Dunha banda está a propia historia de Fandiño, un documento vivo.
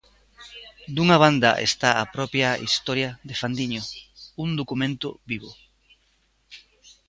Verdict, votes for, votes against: accepted, 2, 1